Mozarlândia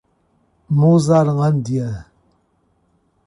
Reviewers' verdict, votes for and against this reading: accepted, 2, 0